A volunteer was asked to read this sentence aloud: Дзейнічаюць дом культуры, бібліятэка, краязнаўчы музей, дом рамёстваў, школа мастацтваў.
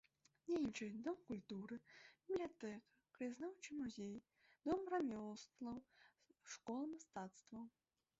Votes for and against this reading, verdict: 1, 3, rejected